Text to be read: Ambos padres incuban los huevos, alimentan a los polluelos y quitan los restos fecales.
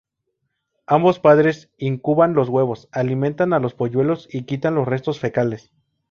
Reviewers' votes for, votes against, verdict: 2, 0, accepted